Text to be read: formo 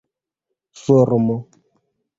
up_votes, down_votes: 2, 1